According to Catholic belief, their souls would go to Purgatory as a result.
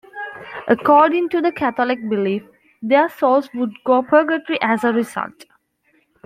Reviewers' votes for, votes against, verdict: 1, 2, rejected